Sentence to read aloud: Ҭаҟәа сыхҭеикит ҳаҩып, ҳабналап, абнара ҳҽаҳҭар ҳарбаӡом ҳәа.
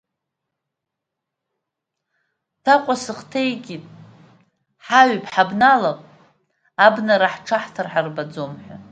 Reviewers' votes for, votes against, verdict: 2, 0, accepted